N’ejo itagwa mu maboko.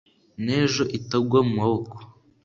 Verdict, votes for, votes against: accepted, 2, 0